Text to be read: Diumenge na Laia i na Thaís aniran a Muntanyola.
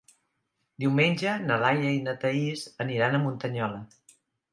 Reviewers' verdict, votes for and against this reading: accepted, 2, 0